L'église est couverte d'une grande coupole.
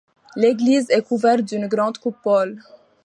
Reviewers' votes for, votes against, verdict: 2, 0, accepted